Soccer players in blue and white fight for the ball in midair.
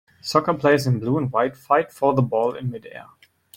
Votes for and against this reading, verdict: 2, 0, accepted